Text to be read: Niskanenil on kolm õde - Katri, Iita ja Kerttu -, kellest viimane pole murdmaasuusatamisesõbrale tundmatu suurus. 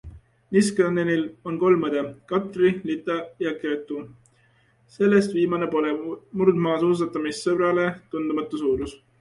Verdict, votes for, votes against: rejected, 0, 2